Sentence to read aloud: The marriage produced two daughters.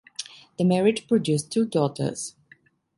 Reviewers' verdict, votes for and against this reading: accepted, 2, 1